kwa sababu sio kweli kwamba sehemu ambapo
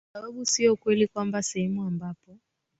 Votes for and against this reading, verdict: 2, 0, accepted